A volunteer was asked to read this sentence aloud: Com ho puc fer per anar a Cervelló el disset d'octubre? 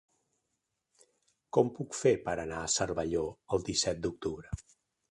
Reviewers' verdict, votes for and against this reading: rejected, 2, 3